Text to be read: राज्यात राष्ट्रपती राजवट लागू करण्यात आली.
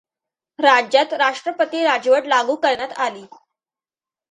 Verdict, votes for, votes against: accepted, 2, 0